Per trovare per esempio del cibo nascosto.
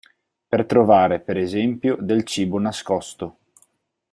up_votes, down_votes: 4, 0